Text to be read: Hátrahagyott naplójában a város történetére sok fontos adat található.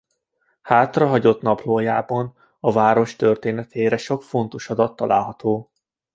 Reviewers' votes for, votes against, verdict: 0, 2, rejected